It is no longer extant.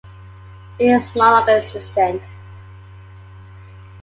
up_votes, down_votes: 0, 2